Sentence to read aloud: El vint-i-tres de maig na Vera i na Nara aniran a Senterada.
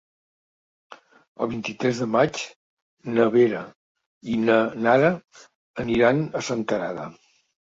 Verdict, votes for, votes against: accepted, 2, 0